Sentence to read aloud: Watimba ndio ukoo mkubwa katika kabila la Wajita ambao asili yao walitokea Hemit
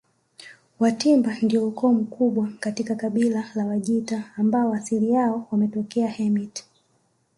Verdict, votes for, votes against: accepted, 3, 0